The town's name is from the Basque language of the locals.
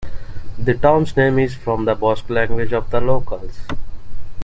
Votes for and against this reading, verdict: 2, 0, accepted